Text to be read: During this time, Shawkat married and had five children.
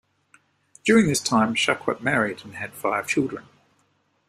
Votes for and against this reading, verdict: 0, 2, rejected